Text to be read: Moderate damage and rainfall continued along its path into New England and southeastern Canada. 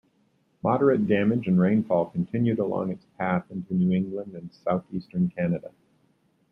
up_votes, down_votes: 2, 0